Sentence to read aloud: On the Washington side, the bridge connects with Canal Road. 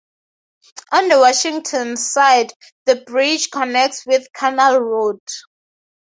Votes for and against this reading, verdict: 4, 0, accepted